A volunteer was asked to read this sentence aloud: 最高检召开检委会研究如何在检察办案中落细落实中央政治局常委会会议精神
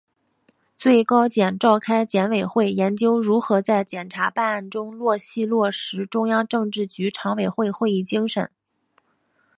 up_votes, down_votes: 3, 1